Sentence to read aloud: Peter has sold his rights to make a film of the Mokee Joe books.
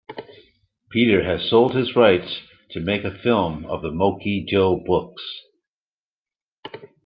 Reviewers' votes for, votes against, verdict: 2, 0, accepted